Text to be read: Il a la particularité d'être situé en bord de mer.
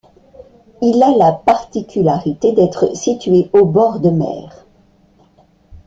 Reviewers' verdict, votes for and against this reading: rejected, 0, 2